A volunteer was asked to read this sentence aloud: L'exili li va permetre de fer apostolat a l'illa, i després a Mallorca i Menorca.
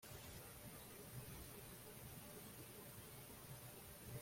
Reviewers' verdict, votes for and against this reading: rejected, 0, 2